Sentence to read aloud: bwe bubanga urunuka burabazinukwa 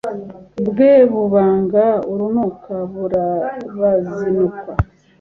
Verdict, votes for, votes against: accepted, 2, 0